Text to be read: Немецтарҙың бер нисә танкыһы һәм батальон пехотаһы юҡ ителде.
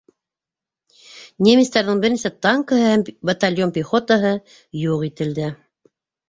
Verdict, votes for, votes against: accepted, 2, 1